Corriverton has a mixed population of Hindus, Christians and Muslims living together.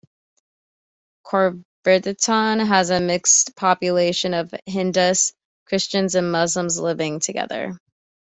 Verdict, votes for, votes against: accepted, 2, 0